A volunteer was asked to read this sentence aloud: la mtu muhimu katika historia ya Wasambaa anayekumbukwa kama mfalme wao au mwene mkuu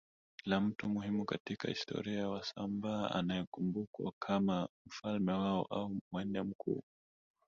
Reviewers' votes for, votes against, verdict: 2, 3, rejected